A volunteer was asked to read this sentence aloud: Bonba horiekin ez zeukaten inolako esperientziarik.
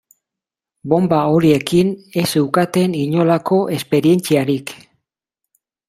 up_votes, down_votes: 2, 0